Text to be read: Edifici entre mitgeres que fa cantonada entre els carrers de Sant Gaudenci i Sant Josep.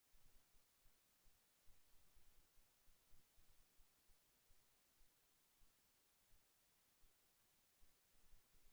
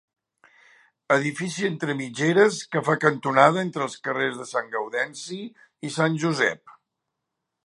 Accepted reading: second